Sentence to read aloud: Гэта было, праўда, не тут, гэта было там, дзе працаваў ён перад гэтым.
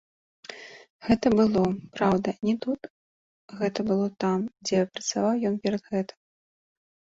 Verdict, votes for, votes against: accepted, 2, 0